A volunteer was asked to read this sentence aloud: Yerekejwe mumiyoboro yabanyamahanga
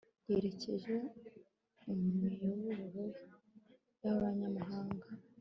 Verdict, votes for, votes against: accepted, 2, 0